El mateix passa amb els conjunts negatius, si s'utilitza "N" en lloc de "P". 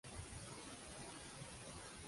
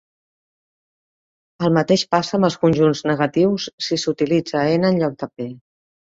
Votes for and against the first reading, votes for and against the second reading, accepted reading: 0, 2, 2, 0, second